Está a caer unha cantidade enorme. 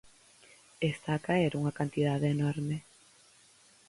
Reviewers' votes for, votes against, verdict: 4, 2, accepted